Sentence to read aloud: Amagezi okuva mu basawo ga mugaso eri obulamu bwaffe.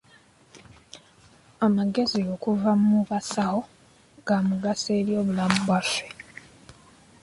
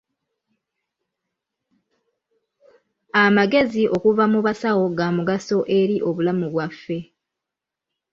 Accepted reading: first